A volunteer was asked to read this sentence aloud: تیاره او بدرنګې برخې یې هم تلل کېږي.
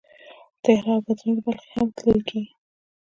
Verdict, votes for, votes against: rejected, 1, 2